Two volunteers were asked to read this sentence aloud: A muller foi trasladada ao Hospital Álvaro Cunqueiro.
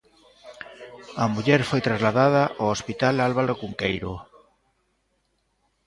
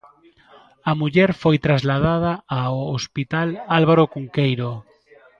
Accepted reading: second